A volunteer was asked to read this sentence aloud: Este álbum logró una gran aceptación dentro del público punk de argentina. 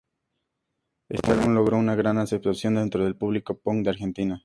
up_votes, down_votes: 2, 0